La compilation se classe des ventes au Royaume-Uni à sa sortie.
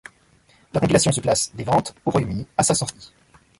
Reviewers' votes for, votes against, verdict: 0, 2, rejected